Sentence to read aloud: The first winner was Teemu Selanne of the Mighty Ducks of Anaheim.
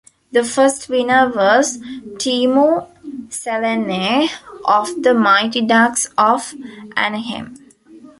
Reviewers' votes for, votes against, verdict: 2, 1, accepted